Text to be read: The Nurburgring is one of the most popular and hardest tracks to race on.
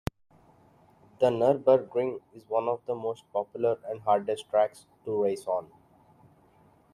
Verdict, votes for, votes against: accepted, 2, 0